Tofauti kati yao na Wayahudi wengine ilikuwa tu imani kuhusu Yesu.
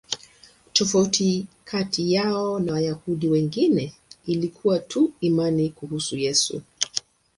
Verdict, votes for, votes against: accepted, 2, 0